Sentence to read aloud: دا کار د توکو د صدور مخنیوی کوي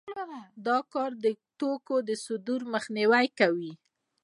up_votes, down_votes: 2, 0